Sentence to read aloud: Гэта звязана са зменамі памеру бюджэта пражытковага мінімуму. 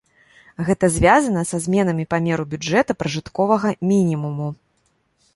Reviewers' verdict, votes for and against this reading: rejected, 1, 2